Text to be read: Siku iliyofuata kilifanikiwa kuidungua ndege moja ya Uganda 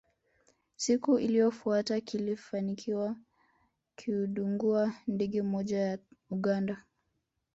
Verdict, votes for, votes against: rejected, 1, 2